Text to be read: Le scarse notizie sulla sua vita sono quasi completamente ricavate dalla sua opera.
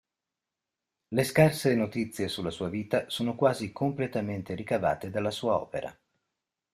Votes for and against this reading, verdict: 2, 0, accepted